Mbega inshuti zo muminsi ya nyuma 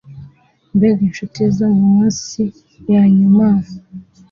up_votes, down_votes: 2, 0